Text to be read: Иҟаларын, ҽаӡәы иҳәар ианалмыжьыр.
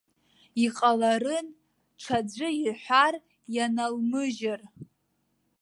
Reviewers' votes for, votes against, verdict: 0, 2, rejected